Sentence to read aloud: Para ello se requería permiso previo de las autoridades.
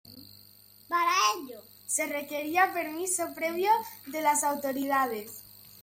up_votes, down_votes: 2, 0